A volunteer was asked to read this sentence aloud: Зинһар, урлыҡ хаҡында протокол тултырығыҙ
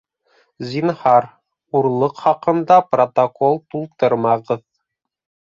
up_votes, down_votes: 0, 2